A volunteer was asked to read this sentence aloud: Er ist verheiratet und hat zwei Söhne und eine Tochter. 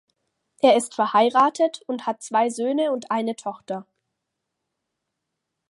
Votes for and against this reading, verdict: 2, 0, accepted